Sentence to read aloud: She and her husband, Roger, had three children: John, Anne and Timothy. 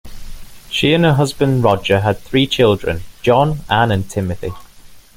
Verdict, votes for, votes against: accepted, 2, 0